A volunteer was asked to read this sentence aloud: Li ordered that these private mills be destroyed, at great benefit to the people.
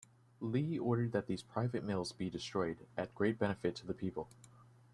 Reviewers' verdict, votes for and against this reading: rejected, 1, 2